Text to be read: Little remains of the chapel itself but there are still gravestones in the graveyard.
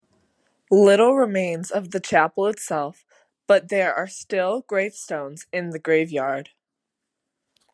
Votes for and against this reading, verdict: 2, 0, accepted